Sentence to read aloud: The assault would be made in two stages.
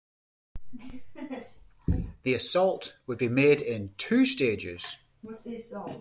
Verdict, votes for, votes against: rejected, 0, 2